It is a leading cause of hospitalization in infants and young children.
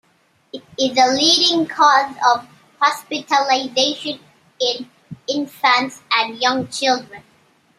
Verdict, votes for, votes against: accepted, 2, 0